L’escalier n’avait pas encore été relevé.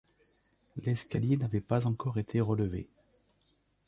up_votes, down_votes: 2, 0